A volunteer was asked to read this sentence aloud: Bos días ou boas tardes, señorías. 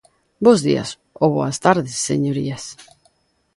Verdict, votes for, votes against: accepted, 2, 0